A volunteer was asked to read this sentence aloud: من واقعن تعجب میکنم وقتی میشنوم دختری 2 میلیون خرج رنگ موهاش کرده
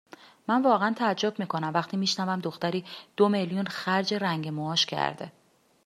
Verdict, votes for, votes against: rejected, 0, 2